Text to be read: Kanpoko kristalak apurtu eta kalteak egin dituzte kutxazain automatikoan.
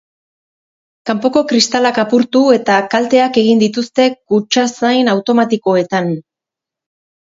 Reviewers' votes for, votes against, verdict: 0, 4, rejected